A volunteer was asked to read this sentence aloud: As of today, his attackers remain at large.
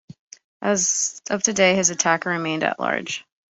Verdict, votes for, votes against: rejected, 1, 2